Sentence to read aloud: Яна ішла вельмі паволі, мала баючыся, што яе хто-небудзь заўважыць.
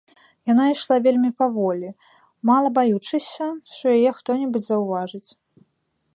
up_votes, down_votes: 1, 2